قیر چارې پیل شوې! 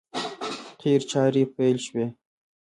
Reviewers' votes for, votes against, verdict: 0, 2, rejected